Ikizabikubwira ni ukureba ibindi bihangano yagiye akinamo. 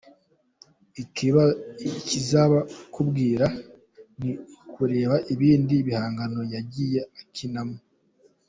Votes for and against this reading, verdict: 0, 2, rejected